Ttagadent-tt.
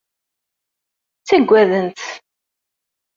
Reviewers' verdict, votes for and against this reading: rejected, 0, 2